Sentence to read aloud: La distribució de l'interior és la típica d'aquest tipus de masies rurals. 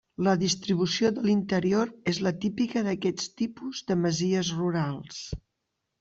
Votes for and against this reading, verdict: 1, 2, rejected